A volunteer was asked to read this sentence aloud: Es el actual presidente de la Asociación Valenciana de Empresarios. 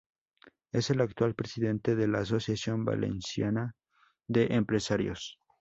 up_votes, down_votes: 4, 0